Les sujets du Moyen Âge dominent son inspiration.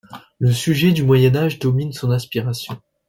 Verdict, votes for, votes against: accepted, 2, 0